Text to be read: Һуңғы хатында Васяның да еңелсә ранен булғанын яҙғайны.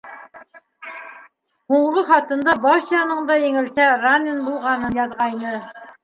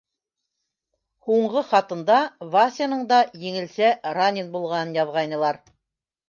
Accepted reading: first